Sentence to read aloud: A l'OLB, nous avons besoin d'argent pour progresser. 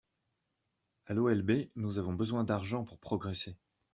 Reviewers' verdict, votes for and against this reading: accepted, 2, 0